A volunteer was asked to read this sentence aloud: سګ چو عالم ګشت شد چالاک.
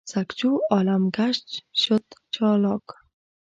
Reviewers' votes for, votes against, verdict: 0, 2, rejected